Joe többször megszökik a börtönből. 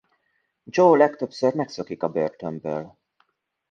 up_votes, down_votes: 0, 2